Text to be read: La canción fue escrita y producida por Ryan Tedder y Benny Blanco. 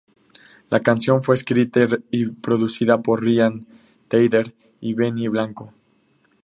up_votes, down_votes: 0, 2